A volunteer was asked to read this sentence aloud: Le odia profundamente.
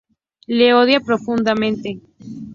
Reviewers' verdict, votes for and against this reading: accepted, 2, 0